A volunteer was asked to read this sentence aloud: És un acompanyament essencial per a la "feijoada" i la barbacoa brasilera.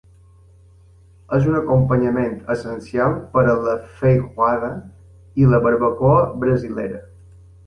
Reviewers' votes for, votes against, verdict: 0, 2, rejected